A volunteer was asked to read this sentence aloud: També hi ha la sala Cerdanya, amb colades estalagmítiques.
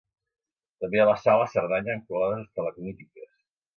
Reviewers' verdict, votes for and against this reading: rejected, 0, 2